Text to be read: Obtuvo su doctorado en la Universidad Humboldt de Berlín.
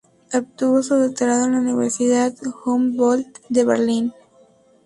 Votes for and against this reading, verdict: 2, 0, accepted